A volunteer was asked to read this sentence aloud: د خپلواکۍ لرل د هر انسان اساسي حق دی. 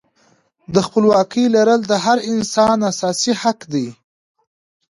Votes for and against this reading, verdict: 2, 0, accepted